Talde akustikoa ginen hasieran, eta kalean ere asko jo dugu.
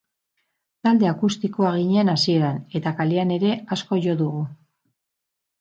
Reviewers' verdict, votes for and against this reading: accepted, 2, 0